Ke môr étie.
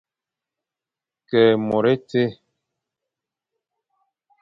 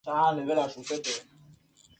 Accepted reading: first